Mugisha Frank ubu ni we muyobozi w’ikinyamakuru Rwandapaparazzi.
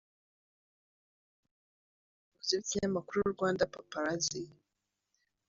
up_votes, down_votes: 0, 2